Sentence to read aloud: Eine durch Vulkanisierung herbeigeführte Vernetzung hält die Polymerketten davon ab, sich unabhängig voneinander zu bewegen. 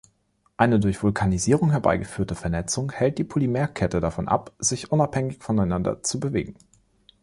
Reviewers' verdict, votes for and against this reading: rejected, 0, 2